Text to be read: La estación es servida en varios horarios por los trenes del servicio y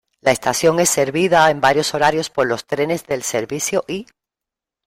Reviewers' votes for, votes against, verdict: 2, 0, accepted